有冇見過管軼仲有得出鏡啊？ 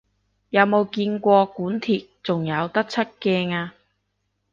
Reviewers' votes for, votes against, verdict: 0, 2, rejected